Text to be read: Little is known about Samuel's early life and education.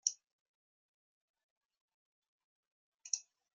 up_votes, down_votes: 0, 2